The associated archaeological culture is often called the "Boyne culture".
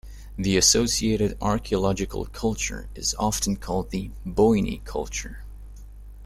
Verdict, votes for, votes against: rejected, 1, 2